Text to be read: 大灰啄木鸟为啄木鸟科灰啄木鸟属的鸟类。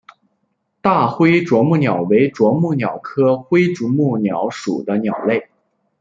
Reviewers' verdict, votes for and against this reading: accepted, 2, 1